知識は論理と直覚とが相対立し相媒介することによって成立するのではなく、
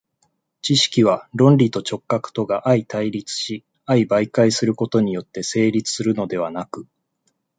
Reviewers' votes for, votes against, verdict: 2, 0, accepted